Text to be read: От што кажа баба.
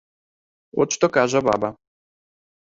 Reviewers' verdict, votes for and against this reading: accepted, 2, 0